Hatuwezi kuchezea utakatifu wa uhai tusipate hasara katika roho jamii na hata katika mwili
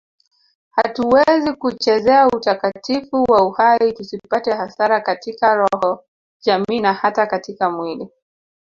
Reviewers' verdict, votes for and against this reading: accepted, 2, 1